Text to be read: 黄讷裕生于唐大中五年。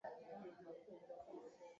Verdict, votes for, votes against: rejected, 0, 2